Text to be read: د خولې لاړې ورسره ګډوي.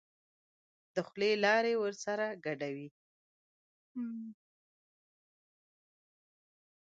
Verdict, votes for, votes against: rejected, 1, 2